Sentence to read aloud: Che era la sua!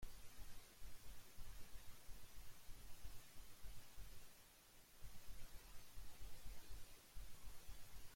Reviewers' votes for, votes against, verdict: 0, 2, rejected